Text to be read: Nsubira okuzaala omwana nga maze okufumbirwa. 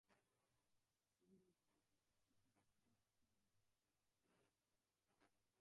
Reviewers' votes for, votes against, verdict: 0, 2, rejected